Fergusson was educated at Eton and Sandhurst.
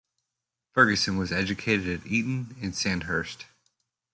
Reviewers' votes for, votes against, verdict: 2, 0, accepted